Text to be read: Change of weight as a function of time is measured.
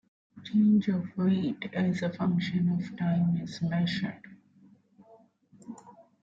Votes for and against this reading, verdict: 2, 1, accepted